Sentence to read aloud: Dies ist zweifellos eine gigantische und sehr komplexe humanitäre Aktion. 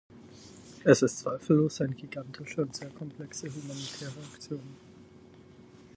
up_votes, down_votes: 0, 4